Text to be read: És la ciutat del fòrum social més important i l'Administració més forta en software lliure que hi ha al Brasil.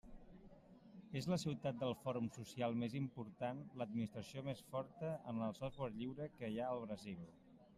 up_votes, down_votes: 0, 2